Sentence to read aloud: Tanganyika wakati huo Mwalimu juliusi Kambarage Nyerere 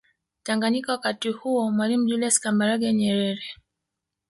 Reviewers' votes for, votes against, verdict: 1, 2, rejected